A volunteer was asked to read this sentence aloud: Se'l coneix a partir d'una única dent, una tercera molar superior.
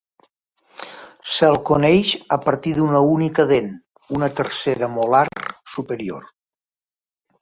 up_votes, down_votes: 2, 0